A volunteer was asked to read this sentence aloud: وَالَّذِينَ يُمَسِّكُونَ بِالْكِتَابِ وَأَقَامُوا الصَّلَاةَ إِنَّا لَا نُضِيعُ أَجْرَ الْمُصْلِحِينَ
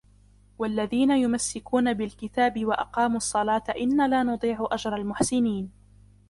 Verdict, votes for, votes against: rejected, 0, 2